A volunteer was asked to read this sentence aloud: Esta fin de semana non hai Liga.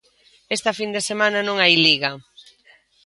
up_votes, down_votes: 2, 0